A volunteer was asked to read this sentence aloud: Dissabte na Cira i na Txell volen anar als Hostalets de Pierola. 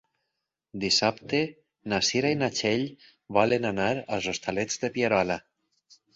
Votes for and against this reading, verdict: 6, 0, accepted